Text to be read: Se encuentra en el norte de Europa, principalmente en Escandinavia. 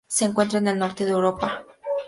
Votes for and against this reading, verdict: 0, 4, rejected